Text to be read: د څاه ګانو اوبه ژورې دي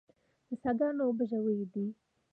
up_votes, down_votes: 0, 2